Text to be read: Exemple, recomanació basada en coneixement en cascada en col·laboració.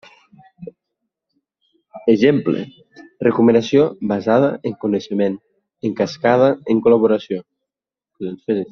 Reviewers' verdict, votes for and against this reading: accepted, 2, 1